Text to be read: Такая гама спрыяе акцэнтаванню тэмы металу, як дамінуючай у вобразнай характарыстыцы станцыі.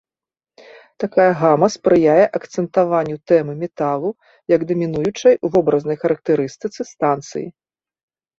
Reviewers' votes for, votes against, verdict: 2, 1, accepted